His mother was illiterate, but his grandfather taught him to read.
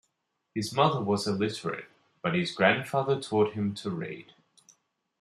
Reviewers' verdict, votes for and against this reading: accepted, 2, 0